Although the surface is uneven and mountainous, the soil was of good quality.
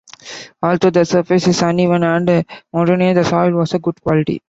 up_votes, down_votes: 0, 2